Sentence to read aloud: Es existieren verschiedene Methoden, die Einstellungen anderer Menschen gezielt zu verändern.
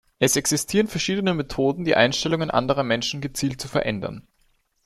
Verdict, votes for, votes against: accepted, 2, 0